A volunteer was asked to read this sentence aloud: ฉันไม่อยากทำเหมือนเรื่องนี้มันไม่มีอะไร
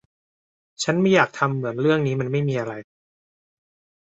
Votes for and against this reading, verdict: 2, 0, accepted